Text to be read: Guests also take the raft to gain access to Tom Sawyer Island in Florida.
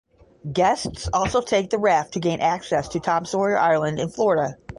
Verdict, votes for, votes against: accepted, 10, 0